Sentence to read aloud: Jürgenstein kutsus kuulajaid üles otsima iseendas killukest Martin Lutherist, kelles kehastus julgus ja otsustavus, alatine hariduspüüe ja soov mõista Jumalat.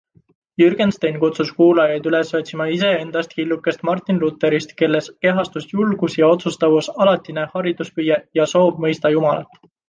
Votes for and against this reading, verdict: 2, 0, accepted